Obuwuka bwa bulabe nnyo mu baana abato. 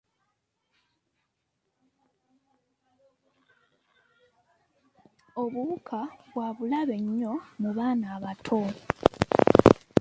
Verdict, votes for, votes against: accepted, 2, 0